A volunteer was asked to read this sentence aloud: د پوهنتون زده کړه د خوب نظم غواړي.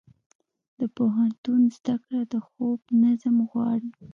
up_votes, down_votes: 2, 0